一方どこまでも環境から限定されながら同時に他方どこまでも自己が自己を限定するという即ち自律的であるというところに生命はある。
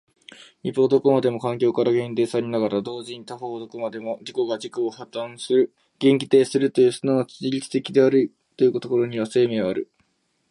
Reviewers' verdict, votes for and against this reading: rejected, 1, 2